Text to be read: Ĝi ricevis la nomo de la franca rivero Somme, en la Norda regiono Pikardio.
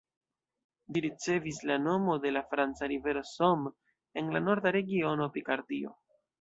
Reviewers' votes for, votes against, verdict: 1, 2, rejected